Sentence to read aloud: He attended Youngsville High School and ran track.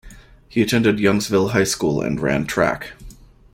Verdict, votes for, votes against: accepted, 2, 0